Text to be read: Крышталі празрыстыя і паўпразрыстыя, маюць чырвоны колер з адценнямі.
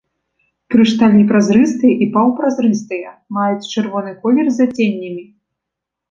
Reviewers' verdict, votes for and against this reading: rejected, 2, 3